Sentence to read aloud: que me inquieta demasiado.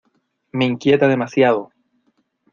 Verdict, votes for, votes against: rejected, 0, 2